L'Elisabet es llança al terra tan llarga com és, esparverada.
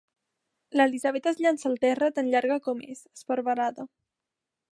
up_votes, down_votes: 2, 0